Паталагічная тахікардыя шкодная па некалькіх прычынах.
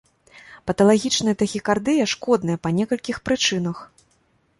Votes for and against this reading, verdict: 2, 0, accepted